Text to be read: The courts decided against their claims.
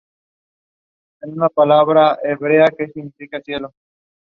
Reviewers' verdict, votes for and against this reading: rejected, 0, 2